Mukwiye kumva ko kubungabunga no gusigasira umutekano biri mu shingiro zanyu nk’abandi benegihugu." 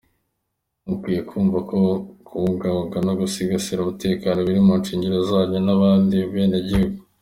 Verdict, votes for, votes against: accepted, 2, 0